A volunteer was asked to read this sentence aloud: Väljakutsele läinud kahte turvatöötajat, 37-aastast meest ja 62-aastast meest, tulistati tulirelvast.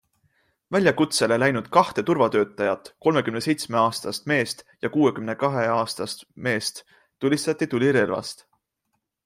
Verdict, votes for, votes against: rejected, 0, 2